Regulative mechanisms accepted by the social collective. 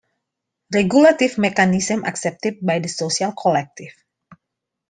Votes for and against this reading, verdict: 2, 0, accepted